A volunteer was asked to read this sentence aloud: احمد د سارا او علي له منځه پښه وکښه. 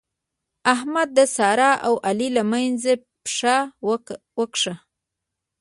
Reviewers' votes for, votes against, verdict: 0, 2, rejected